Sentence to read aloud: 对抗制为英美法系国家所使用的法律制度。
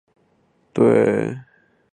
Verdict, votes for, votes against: rejected, 0, 4